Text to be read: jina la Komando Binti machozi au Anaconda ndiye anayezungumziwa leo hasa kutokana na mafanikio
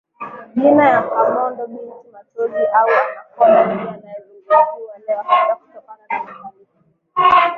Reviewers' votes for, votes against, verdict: 6, 15, rejected